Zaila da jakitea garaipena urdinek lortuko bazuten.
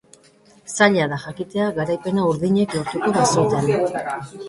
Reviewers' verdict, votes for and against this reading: rejected, 0, 2